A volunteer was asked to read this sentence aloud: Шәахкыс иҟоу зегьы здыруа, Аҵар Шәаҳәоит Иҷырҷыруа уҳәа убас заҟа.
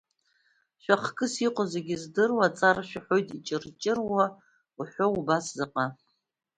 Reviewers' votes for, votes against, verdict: 2, 0, accepted